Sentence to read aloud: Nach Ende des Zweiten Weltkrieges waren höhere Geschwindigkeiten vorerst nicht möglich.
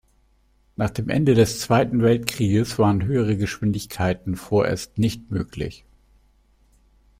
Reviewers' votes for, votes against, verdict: 1, 2, rejected